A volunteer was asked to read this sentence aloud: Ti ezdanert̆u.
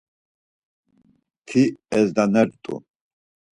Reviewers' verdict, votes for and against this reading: accepted, 4, 0